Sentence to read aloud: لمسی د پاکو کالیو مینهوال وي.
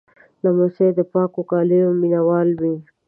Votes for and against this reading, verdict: 2, 0, accepted